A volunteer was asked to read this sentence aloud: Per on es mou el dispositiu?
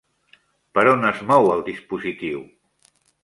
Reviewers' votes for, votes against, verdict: 3, 0, accepted